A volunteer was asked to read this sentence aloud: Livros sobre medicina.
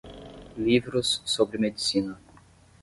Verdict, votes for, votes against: accepted, 10, 0